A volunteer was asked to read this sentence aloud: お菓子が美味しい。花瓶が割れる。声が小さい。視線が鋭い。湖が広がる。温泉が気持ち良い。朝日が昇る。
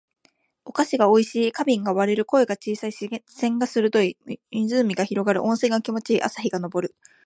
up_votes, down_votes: 1, 2